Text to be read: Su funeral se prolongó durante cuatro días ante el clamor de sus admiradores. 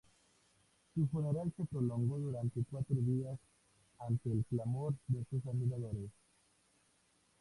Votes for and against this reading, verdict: 2, 0, accepted